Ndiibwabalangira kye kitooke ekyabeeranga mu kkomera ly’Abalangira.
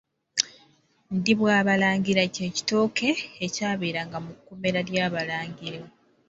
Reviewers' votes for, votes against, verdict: 2, 1, accepted